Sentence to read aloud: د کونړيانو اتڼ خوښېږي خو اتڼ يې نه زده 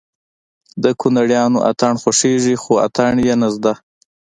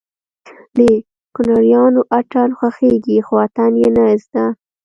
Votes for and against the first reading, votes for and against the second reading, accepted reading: 1, 2, 2, 0, second